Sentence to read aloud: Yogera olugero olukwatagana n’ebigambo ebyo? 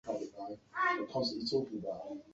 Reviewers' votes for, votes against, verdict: 0, 2, rejected